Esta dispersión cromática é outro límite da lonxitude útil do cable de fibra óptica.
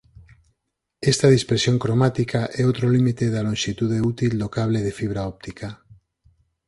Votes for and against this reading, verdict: 6, 0, accepted